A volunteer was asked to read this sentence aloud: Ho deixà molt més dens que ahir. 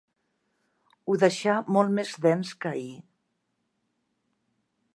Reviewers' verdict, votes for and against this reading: accepted, 3, 0